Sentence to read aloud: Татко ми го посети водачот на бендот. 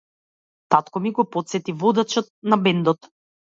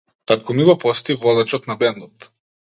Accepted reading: second